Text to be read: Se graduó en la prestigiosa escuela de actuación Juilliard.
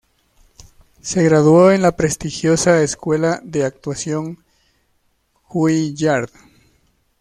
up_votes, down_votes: 2, 1